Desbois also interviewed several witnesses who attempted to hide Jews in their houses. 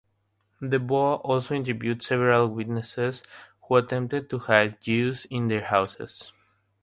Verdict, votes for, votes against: accepted, 3, 0